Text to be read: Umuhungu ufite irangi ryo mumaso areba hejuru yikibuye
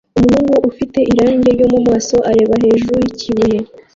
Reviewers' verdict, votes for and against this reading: rejected, 1, 2